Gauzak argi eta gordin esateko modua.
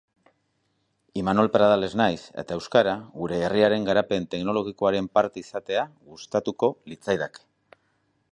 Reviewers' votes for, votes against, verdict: 0, 3, rejected